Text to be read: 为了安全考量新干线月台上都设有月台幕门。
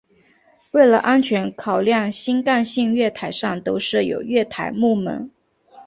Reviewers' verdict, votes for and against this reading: accepted, 2, 1